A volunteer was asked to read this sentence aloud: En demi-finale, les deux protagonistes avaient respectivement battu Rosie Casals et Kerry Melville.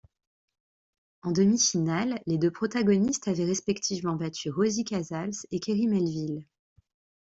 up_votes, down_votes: 2, 0